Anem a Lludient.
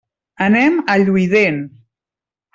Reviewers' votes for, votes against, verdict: 0, 2, rejected